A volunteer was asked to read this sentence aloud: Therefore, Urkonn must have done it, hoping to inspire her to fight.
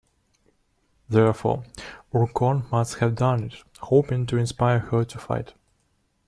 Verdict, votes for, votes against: accepted, 2, 0